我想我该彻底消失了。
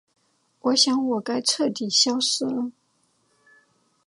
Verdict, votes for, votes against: accepted, 4, 0